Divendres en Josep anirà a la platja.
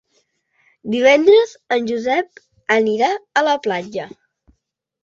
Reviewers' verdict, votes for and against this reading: accepted, 2, 0